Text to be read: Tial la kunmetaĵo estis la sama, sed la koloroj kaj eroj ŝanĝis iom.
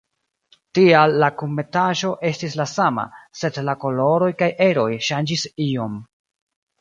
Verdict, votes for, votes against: accepted, 2, 0